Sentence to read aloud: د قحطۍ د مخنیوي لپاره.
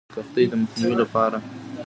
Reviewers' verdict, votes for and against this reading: rejected, 1, 2